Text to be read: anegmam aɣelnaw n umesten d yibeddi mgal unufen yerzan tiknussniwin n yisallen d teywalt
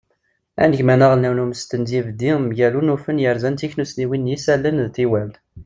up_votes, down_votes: 2, 0